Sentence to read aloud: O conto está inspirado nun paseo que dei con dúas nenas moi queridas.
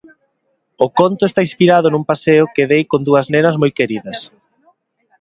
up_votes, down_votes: 2, 0